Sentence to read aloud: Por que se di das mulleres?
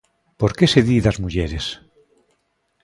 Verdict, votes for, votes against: accepted, 2, 0